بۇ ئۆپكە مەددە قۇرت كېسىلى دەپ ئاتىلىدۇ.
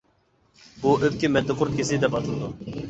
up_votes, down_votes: 0, 2